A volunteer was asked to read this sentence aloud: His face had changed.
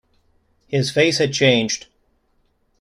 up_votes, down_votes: 2, 0